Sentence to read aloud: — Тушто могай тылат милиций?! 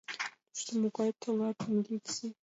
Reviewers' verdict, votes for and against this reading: rejected, 1, 2